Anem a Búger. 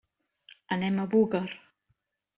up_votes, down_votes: 1, 2